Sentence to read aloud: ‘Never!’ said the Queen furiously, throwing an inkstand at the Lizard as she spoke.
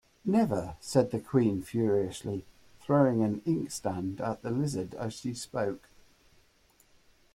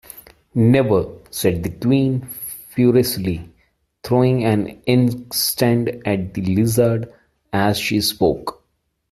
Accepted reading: first